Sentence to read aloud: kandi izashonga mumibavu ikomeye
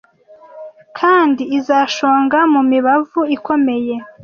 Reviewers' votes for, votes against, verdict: 2, 0, accepted